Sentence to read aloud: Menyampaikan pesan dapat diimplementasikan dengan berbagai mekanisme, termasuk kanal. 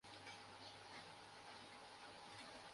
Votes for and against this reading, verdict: 0, 2, rejected